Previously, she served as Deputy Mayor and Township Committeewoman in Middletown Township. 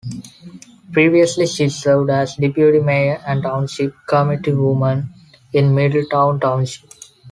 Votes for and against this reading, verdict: 2, 0, accepted